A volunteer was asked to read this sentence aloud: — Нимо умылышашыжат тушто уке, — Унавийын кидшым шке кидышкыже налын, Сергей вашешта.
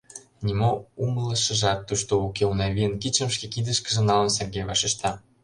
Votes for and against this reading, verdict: 0, 2, rejected